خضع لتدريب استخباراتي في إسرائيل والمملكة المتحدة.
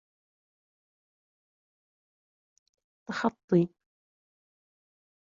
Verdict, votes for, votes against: rejected, 0, 2